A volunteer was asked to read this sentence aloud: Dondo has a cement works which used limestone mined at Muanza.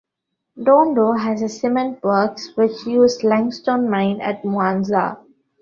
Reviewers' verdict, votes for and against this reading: rejected, 0, 2